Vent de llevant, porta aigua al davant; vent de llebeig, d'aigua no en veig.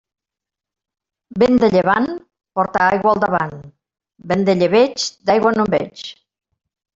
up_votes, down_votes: 2, 1